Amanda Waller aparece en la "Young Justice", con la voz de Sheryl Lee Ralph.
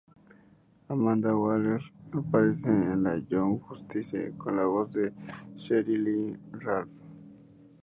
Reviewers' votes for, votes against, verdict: 2, 0, accepted